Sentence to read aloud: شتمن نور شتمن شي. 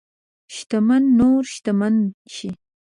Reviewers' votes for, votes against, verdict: 2, 0, accepted